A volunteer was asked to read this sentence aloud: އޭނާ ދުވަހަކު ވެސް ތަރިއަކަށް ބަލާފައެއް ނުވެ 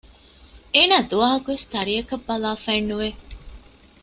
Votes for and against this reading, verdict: 2, 0, accepted